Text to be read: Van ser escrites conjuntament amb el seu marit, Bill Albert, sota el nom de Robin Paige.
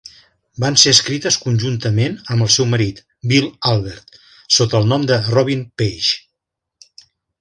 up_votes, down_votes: 1, 2